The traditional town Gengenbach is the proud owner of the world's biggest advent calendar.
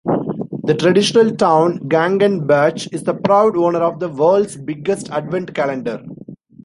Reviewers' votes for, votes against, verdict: 2, 0, accepted